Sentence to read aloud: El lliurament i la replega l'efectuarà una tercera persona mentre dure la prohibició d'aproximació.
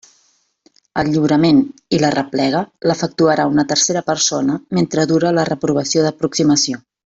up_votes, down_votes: 0, 2